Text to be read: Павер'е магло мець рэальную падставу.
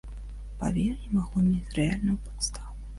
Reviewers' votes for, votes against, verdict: 1, 2, rejected